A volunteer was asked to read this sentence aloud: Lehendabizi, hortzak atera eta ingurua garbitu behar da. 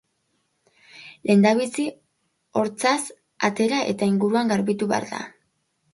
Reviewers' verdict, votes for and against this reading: accepted, 3, 1